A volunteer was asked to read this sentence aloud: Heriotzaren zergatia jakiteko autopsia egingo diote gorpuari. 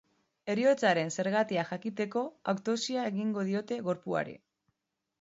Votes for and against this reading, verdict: 3, 0, accepted